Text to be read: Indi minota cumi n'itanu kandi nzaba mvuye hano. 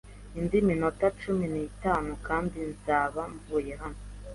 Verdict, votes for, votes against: accepted, 2, 0